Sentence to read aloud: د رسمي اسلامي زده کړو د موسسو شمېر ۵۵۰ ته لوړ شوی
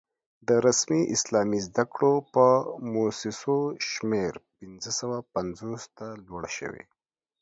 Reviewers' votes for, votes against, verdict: 0, 2, rejected